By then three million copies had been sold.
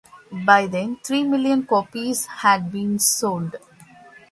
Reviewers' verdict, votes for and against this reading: accepted, 2, 1